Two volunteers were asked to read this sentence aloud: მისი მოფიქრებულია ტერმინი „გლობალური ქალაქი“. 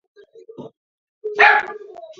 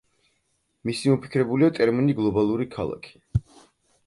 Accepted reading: second